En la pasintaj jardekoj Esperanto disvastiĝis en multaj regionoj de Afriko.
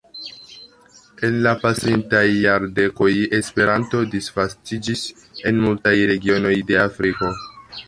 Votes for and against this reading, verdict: 2, 0, accepted